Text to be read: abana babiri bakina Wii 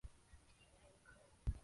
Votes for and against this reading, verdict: 0, 2, rejected